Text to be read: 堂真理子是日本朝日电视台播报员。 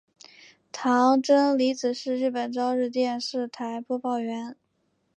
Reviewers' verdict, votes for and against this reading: accepted, 3, 1